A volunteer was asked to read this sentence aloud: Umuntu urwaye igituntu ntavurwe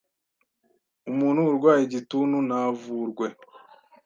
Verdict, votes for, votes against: accepted, 2, 0